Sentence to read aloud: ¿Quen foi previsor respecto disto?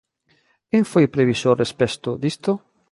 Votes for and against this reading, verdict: 0, 2, rejected